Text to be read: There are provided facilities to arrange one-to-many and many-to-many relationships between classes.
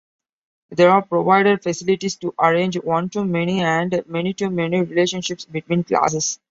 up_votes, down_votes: 2, 0